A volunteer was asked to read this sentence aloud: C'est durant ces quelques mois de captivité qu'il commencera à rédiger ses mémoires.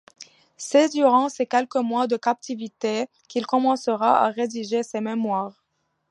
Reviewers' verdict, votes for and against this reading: accepted, 2, 0